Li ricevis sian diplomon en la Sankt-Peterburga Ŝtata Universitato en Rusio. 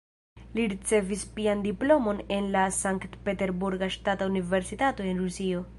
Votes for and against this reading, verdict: 1, 2, rejected